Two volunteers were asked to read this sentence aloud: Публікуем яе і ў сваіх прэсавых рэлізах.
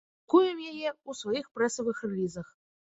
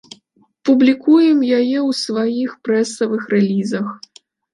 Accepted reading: second